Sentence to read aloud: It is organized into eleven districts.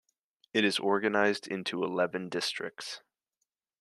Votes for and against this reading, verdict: 2, 0, accepted